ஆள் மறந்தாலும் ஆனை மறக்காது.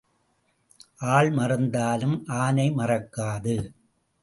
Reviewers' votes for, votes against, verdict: 2, 0, accepted